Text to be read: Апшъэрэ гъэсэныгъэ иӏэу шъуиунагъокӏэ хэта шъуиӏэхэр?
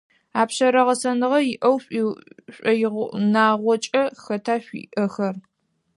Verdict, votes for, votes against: rejected, 0, 4